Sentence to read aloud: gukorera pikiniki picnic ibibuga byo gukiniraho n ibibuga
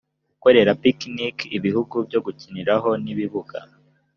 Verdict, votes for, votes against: rejected, 1, 2